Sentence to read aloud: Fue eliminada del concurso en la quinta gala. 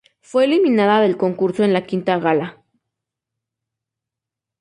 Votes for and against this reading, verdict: 2, 0, accepted